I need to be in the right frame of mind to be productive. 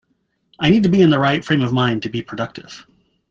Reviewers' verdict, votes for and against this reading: accepted, 2, 0